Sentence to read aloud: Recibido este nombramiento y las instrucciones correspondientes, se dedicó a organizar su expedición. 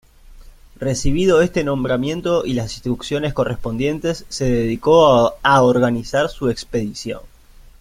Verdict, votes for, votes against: rejected, 1, 2